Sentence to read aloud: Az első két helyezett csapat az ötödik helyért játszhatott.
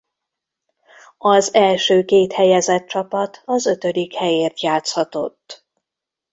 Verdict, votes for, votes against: accepted, 2, 0